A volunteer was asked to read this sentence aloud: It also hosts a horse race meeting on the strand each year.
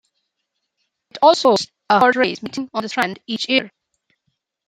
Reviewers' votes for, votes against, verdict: 1, 2, rejected